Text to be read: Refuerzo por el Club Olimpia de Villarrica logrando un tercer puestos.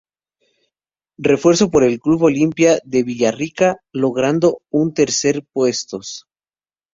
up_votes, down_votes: 0, 2